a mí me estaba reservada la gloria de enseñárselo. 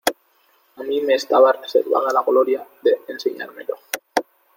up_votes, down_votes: 0, 2